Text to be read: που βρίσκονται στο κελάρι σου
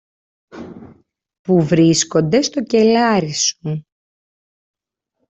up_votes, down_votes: 2, 1